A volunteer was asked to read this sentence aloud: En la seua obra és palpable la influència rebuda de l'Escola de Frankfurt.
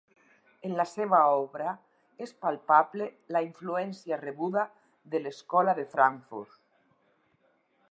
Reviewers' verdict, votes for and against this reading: rejected, 0, 4